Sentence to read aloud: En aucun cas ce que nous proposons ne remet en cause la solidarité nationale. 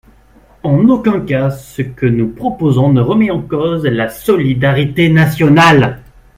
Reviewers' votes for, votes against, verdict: 3, 2, accepted